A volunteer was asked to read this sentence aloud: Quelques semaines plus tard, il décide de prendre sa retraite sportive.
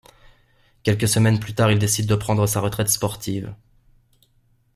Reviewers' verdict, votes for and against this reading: accepted, 2, 0